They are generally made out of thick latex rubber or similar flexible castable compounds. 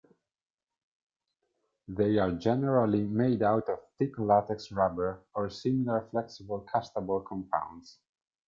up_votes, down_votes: 2, 0